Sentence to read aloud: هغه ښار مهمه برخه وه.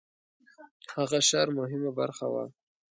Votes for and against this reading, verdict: 3, 0, accepted